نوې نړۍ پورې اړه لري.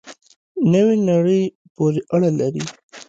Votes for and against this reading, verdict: 0, 2, rejected